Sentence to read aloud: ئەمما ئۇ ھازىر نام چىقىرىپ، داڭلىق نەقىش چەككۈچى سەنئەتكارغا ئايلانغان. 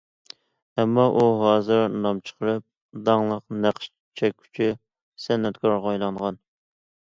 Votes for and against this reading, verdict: 2, 0, accepted